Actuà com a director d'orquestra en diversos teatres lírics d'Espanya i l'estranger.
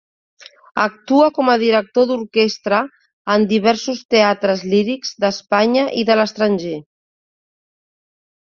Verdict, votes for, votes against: rejected, 1, 2